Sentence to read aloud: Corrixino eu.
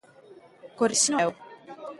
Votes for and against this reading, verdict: 0, 2, rejected